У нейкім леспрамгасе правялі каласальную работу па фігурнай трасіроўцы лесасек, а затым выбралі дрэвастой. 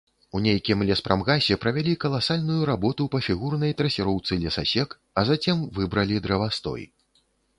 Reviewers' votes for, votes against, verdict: 0, 2, rejected